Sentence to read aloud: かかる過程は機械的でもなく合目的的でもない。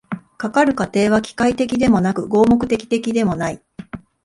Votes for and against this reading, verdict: 2, 0, accepted